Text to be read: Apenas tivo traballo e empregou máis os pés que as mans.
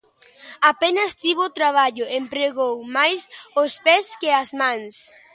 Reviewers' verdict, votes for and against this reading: accepted, 2, 0